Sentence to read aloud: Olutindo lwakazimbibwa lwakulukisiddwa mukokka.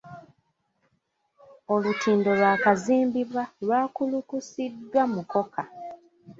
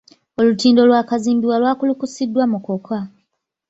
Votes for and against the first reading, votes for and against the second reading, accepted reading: 2, 1, 0, 2, first